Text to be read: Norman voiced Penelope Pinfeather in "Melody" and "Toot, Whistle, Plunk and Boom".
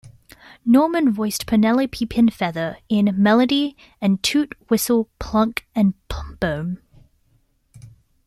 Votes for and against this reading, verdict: 2, 0, accepted